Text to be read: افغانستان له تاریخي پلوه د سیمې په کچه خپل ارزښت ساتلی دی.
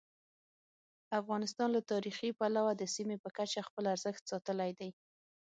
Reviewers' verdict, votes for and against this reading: accepted, 6, 0